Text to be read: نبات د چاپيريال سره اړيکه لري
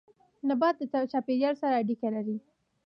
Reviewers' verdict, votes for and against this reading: accepted, 2, 0